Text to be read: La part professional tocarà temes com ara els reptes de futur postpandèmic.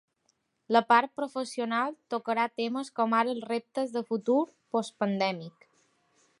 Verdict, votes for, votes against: accepted, 3, 0